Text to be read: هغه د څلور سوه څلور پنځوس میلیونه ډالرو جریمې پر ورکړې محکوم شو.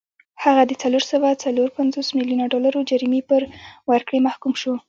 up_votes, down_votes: 2, 1